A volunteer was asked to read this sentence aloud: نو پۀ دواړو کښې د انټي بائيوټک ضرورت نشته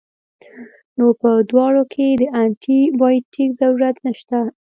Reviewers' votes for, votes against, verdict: 2, 0, accepted